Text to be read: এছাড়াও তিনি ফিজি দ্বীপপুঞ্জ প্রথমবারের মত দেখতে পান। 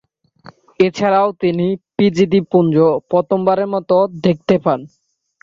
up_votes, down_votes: 2, 1